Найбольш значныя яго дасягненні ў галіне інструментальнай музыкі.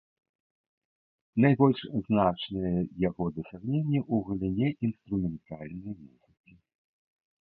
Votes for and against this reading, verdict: 0, 2, rejected